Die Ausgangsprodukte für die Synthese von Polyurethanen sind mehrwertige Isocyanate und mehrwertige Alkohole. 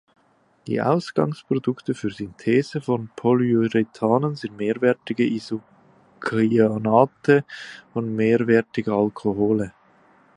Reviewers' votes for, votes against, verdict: 2, 3, rejected